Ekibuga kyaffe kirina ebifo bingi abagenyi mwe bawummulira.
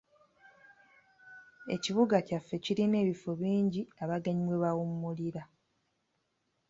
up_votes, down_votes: 2, 0